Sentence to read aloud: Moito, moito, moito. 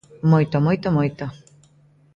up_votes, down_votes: 2, 0